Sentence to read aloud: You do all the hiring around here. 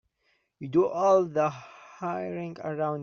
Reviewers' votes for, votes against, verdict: 0, 3, rejected